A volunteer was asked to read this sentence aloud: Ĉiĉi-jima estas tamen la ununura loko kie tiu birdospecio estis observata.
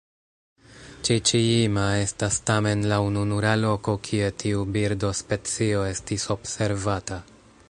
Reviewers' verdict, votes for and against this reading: rejected, 1, 2